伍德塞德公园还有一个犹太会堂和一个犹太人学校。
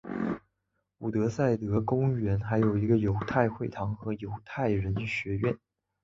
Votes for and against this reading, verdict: 3, 1, accepted